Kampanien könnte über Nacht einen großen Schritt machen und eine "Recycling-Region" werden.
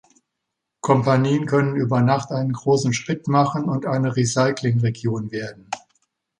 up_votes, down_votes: 0, 2